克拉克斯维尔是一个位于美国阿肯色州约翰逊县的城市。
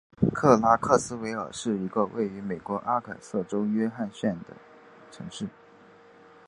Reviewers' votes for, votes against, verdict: 2, 1, accepted